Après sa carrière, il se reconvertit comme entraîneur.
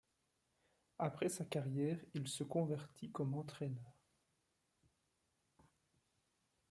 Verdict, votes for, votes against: rejected, 0, 2